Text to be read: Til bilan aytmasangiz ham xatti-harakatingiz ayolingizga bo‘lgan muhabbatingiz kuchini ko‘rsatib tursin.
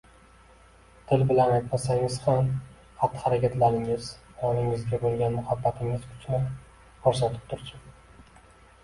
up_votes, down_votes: 2, 1